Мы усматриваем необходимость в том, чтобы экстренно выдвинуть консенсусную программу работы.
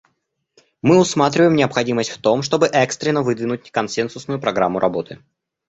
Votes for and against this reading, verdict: 2, 0, accepted